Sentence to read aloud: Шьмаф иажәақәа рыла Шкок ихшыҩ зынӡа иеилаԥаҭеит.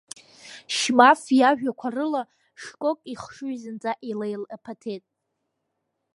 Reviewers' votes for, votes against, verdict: 1, 2, rejected